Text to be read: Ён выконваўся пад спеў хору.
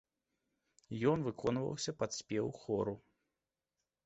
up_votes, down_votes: 2, 0